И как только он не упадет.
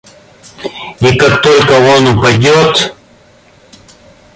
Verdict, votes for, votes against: rejected, 0, 2